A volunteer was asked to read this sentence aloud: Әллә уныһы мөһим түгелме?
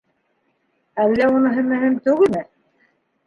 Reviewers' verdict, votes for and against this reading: rejected, 1, 2